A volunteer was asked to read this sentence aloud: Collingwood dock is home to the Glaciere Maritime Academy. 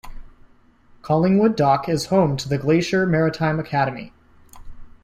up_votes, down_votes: 2, 1